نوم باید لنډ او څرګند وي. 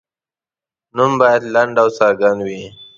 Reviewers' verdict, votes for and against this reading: accepted, 2, 0